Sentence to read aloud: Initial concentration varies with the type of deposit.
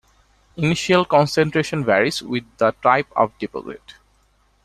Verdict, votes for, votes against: rejected, 1, 2